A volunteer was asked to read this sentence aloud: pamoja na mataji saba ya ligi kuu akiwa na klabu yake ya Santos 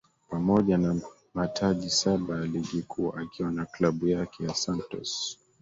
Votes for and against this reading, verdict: 0, 2, rejected